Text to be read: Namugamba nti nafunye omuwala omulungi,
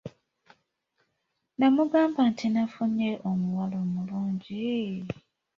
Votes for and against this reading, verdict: 0, 2, rejected